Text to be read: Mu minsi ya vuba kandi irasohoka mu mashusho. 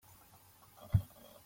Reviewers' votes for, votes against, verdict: 0, 2, rejected